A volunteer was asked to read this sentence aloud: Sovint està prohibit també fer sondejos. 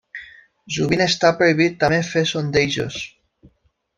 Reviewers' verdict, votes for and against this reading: rejected, 0, 2